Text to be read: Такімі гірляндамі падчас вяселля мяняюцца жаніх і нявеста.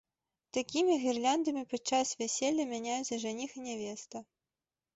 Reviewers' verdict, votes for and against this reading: accepted, 2, 0